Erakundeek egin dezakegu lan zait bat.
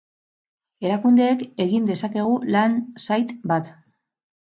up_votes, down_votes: 2, 2